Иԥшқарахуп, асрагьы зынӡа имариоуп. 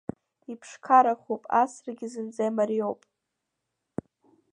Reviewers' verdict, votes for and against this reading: accepted, 2, 0